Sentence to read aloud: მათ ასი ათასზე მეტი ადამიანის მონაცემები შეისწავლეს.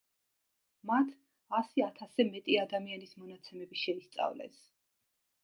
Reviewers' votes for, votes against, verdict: 2, 0, accepted